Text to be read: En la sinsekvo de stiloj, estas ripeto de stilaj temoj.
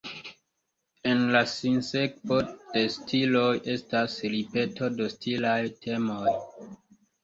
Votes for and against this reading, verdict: 2, 0, accepted